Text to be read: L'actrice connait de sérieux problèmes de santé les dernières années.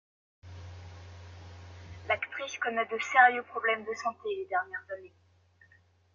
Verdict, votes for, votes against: accepted, 2, 0